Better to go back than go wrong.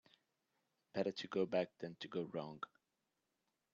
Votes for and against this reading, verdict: 1, 2, rejected